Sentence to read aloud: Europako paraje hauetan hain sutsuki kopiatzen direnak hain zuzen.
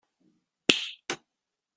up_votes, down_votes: 0, 2